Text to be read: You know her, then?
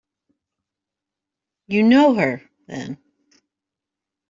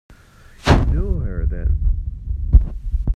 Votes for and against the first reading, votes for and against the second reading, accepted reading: 2, 0, 1, 2, first